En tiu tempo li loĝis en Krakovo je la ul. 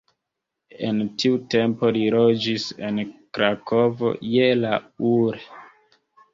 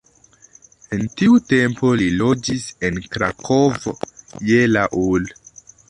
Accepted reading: first